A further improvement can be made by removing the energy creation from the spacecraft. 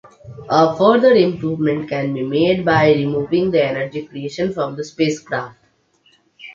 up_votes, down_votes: 2, 1